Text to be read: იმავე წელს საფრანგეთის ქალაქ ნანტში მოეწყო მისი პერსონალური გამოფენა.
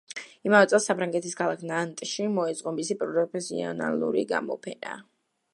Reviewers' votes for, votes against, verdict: 2, 1, accepted